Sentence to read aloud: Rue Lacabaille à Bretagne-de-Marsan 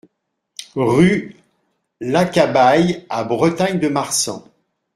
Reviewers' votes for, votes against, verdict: 2, 0, accepted